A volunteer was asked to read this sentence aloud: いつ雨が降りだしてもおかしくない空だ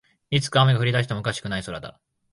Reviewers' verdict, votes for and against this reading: rejected, 0, 2